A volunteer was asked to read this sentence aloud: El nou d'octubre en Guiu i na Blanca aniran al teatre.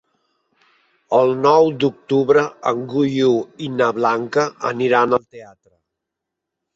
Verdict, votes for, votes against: rejected, 1, 2